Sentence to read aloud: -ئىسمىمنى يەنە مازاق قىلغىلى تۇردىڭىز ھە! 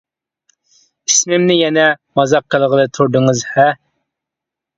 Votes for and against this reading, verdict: 2, 0, accepted